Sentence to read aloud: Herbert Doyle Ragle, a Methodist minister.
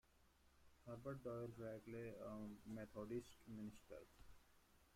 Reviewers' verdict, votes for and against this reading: rejected, 1, 2